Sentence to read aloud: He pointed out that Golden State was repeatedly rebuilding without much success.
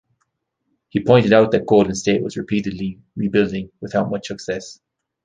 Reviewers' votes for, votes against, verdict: 2, 0, accepted